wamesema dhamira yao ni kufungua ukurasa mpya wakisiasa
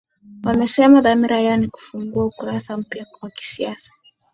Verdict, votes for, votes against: accepted, 3, 0